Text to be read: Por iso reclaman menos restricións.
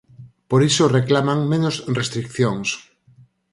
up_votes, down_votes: 0, 4